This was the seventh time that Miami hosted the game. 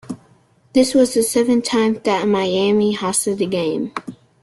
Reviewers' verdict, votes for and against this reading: accepted, 2, 0